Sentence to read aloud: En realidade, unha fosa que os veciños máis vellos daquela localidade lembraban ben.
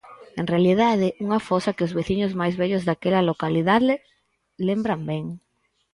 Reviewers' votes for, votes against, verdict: 0, 4, rejected